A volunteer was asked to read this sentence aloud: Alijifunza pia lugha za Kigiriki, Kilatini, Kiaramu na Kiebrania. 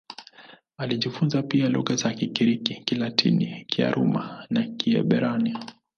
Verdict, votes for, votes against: accepted, 3, 1